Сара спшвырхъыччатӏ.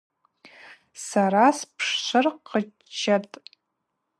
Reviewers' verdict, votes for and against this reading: rejected, 2, 2